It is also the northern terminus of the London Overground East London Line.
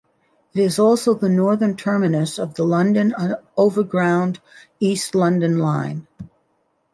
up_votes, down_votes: 2, 0